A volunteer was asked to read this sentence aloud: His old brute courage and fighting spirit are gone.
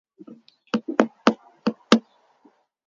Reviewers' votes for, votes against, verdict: 0, 2, rejected